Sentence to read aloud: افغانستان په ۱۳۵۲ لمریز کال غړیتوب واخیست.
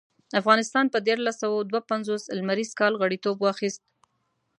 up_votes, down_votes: 0, 2